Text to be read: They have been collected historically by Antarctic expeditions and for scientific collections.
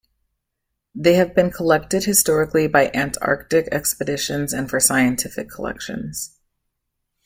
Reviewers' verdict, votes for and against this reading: accepted, 2, 0